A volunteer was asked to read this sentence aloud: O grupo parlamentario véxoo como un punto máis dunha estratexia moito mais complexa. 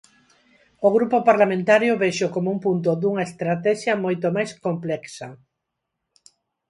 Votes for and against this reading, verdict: 0, 4, rejected